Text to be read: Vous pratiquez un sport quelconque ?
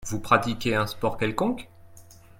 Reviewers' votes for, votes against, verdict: 2, 0, accepted